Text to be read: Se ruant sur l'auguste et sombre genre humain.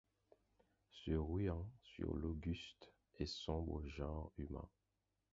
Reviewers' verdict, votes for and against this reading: rejected, 2, 4